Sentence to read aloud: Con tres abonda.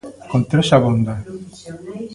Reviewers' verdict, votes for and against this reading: accepted, 2, 0